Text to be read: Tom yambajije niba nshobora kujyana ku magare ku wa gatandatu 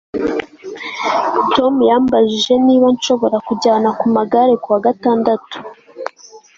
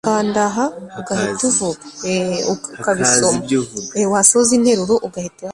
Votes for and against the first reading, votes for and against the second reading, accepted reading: 2, 0, 0, 2, first